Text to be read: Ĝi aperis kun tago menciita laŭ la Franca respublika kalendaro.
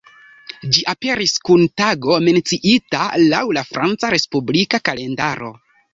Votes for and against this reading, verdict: 2, 1, accepted